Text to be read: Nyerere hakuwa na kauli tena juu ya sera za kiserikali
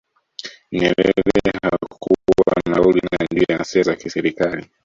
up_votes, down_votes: 0, 2